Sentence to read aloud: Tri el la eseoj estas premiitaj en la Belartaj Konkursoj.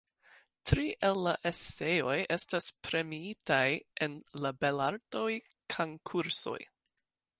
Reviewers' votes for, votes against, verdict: 1, 2, rejected